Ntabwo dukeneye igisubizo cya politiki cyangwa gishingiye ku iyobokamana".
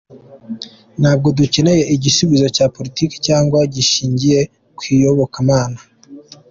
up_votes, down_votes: 2, 0